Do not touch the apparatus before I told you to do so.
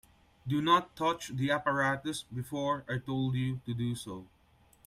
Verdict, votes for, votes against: accepted, 2, 0